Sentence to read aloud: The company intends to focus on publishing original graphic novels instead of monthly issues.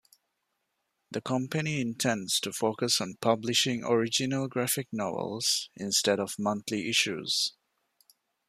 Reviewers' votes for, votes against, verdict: 2, 0, accepted